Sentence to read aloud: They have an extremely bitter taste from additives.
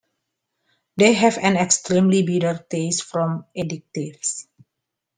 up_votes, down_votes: 2, 1